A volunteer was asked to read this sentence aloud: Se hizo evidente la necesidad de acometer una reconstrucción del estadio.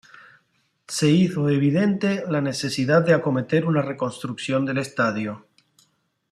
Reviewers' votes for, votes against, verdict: 2, 0, accepted